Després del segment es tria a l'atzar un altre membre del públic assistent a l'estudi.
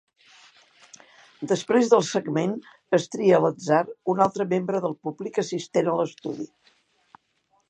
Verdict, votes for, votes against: accepted, 2, 0